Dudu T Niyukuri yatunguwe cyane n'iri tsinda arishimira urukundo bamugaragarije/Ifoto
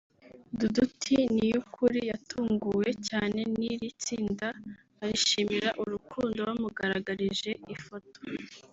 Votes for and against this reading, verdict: 0, 2, rejected